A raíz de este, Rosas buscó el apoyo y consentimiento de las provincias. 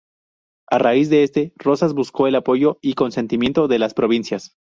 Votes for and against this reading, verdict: 0, 2, rejected